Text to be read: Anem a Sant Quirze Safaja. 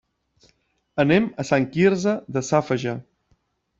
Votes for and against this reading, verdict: 0, 2, rejected